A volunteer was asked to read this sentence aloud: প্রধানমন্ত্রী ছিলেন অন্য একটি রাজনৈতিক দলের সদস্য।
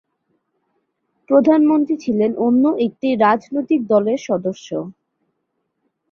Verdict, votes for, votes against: accepted, 2, 0